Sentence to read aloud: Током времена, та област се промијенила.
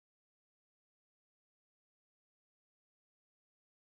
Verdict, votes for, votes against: rejected, 0, 2